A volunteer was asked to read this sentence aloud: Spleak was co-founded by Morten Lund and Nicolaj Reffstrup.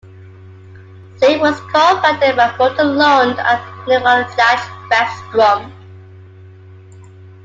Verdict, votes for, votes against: accepted, 2, 1